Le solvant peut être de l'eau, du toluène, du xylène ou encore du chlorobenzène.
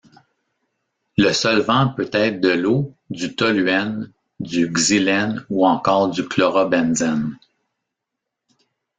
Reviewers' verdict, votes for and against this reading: rejected, 1, 2